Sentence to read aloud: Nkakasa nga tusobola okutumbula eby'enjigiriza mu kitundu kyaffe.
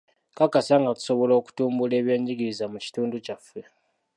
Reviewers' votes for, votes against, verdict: 3, 0, accepted